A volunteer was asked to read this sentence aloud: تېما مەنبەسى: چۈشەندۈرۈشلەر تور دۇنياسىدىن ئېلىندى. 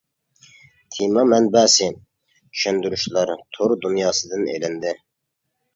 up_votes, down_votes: 2, 0